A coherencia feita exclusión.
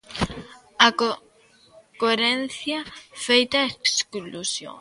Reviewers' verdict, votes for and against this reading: rejected, 0, 2